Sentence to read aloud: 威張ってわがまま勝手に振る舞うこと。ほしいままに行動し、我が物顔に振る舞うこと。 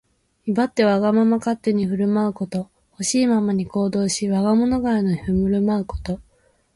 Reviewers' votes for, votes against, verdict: 1, 2, rejected